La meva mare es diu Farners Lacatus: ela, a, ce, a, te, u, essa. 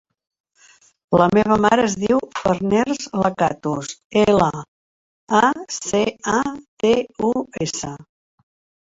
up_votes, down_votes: 0, 3